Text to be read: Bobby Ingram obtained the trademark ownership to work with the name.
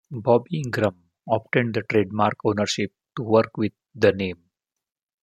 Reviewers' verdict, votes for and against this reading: accepted, 2, 0